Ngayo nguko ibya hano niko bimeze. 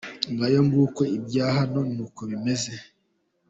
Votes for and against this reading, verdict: 2, 0, accepted